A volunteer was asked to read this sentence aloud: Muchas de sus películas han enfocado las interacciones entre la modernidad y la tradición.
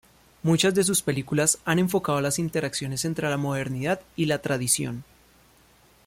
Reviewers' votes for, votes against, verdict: 2, 0, accepted